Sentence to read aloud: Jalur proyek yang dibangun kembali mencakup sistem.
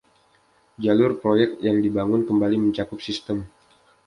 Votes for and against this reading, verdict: 2, 0, accepted